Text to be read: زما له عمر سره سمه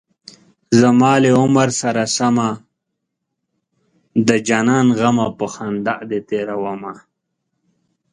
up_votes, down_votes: 0, 2